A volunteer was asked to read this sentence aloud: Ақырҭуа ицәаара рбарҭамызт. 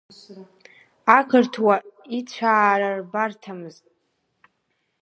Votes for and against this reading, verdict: 0, 3, rejected